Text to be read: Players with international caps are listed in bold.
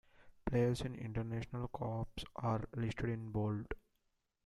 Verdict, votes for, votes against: accepted, 2, 1